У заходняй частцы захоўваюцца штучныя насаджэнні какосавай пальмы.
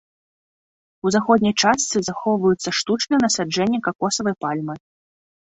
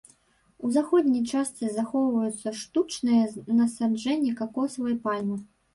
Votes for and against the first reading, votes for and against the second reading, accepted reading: 2, 0, 1, 2, first